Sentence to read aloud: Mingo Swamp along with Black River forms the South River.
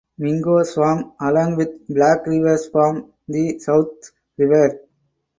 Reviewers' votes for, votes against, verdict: 2, 4, rejected